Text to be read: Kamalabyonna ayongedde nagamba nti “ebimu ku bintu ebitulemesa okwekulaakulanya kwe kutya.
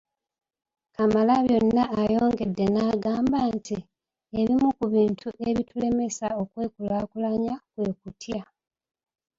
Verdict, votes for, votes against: rejected, 1, 2